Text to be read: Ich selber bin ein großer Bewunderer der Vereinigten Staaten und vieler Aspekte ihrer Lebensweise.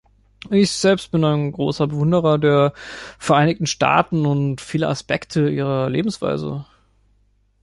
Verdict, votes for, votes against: rejected, 1, 2